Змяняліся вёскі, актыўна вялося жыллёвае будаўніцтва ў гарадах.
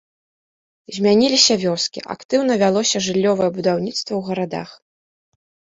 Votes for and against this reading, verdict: 2, 1, accepted